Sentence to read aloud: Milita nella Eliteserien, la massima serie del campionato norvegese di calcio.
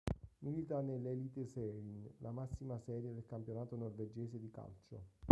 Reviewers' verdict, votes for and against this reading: rejected, 2, 3